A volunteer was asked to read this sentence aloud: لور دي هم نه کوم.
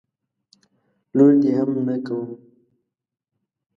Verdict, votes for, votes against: rejected, 0, 2